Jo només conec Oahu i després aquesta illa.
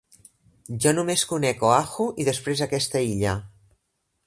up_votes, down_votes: 3, 0